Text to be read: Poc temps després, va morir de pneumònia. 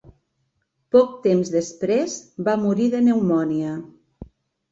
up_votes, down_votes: 3, 0